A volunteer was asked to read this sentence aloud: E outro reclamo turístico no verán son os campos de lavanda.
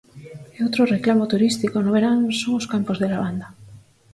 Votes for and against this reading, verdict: 4, 0, accepted